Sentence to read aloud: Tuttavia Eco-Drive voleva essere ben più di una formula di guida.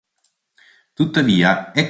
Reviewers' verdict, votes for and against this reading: rejected, 1, 2